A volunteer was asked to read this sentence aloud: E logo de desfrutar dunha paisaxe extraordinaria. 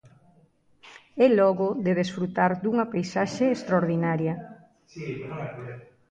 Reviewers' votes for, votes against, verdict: 1, 2, rejected